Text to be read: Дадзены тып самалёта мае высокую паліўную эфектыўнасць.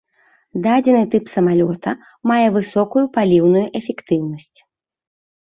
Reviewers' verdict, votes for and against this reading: rejected, 1, 2